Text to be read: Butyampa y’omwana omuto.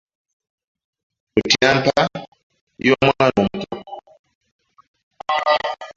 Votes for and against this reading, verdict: 0, 2, rejected